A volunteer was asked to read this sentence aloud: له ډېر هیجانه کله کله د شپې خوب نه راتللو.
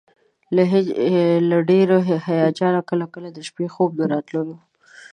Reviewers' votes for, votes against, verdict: 2, 0, accepted